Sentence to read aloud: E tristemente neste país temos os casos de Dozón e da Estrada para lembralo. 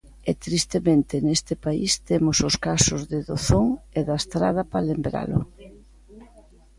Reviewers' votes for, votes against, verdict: 1, 2, rejected